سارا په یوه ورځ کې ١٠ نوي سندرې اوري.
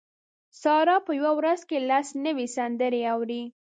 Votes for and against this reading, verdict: 0, 2, rejected